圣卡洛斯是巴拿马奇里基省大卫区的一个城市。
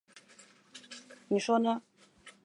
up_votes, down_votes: 0, 2